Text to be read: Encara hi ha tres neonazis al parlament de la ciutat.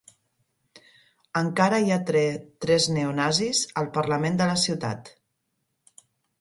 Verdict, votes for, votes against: rejected, 0, 2